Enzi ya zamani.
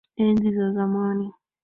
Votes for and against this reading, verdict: 1, 2, rejected